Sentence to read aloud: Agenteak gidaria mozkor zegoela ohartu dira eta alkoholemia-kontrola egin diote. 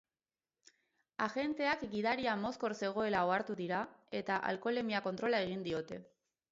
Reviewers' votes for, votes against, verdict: 2, 2, rejected